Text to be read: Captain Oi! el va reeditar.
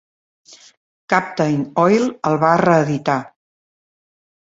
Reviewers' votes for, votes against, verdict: 0, 2, rejected